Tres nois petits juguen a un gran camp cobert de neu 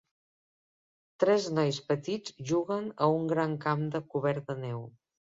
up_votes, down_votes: 0, 2